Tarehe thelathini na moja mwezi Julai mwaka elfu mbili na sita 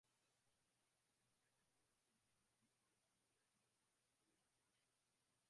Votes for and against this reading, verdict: 0, 10, rejected